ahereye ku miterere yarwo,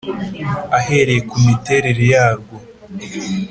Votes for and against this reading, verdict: 2, 0, accepted